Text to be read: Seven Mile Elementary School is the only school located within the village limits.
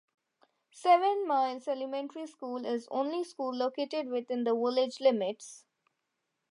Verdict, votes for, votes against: rejected, 0, 2